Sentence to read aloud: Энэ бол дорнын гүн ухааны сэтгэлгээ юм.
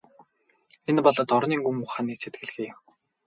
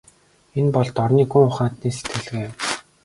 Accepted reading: second